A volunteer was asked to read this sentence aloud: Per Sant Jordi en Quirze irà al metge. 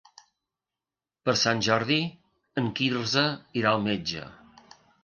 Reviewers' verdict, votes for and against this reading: accepted, 3, 0